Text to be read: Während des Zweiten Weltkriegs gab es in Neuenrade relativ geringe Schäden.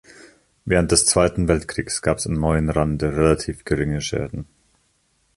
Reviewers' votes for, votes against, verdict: 1, 2, rejected